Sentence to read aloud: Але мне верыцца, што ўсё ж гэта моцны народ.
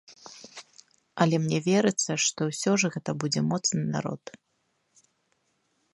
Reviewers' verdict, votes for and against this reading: rejected, 1, 2